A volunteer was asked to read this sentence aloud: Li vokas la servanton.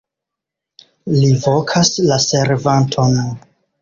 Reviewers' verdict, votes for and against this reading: accepted, 2, 0